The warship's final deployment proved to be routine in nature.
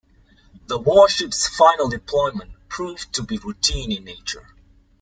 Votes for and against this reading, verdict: 2, 0, accepted